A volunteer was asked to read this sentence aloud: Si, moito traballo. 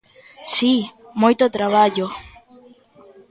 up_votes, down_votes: 1, 2